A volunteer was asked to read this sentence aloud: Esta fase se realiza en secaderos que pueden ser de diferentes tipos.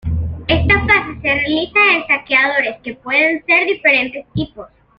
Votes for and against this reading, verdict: 1, 2, rejected